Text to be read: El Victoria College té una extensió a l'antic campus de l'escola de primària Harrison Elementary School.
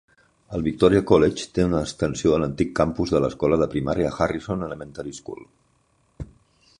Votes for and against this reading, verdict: 2, 0, accepted